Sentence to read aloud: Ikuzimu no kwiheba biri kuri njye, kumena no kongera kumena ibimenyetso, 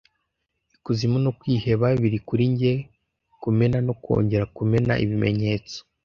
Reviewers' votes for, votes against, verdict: 2, 0, accepted